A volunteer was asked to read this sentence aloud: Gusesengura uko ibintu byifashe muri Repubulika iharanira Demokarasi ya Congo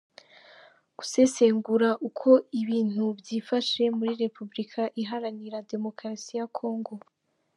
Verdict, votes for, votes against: accepted, 2, 0